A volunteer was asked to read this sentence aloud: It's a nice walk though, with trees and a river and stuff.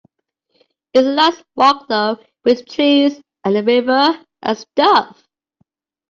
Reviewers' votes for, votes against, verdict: 2, 0, accepted